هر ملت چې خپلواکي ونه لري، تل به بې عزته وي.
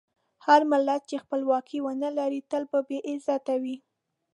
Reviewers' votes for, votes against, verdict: 3, 0, accepted